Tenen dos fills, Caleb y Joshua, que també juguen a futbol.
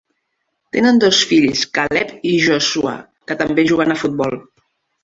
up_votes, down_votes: 2, 0